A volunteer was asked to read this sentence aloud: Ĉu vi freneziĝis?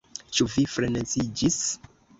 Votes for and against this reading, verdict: 2, 0, accepted